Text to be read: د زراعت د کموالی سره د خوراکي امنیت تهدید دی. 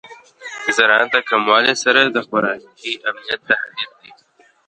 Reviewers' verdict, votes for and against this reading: rejected, 1, 2